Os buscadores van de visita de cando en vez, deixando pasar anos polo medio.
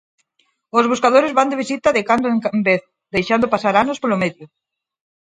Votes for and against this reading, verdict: 2, 6, rejected